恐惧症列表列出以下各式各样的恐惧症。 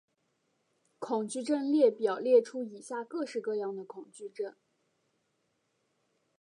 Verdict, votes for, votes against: rejected, 1, 2